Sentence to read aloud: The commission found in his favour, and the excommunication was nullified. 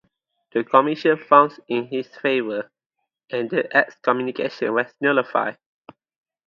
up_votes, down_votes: 4, 2